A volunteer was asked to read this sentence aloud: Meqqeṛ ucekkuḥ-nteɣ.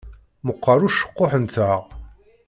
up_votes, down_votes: 2, 0